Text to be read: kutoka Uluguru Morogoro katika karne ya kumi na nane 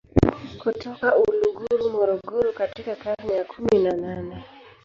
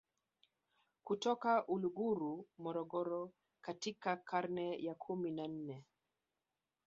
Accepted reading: second